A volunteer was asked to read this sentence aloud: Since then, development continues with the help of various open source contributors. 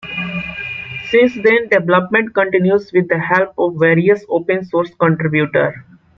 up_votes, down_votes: 1, 2